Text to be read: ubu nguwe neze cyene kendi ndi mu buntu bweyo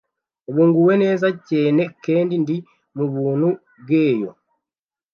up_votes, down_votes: 1, 2